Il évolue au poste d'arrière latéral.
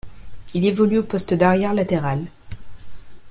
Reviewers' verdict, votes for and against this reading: accepted, 2, 0